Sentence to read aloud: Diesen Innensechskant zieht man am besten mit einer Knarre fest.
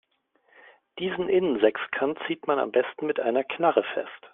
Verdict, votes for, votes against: accepted, 2, 0